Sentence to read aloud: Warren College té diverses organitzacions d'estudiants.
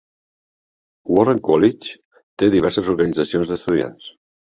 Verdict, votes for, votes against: accepted, 2, 0